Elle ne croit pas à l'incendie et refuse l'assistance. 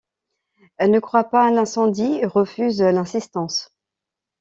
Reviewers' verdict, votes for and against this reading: rejected, 1, 2